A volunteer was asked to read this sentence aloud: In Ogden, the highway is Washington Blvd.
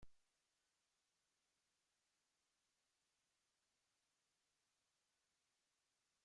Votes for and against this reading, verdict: 0, 3, rejected